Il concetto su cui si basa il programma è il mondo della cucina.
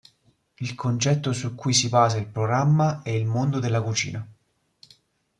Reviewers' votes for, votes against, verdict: 2, 0, accepted